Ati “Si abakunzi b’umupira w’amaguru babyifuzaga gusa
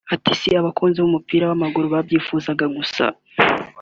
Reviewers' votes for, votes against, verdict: 2, 0, accepted